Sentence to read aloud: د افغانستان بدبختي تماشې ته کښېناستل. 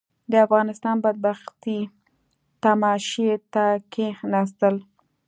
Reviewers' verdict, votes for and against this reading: accepted, 2, 0